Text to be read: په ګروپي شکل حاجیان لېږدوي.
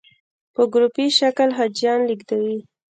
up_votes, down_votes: 1, 2